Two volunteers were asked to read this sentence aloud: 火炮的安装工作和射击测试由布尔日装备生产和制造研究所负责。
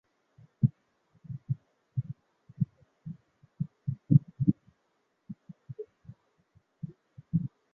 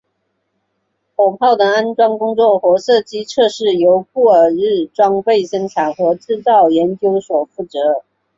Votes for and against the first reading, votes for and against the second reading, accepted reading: 1, 6, 3, 0, second